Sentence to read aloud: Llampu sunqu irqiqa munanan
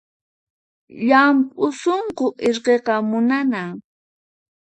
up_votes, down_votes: 4, 0